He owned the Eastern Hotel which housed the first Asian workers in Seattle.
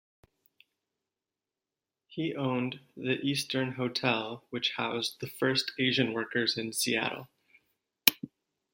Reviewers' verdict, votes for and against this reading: accepted, 2, 0